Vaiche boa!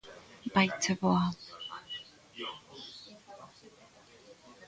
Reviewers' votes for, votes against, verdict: 2, 0, accepted